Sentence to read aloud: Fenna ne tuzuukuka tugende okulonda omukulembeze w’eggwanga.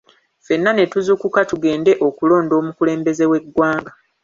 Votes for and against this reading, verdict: 2, 0, accepted